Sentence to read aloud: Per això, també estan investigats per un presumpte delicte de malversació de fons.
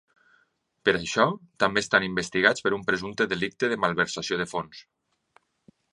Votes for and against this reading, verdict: 2, 0, accepted